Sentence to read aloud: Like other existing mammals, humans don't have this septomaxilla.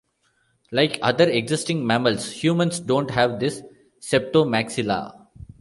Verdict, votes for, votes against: rejected, 0, 2